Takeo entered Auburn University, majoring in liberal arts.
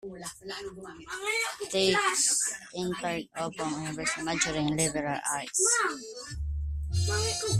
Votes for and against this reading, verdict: 0, 2, rejected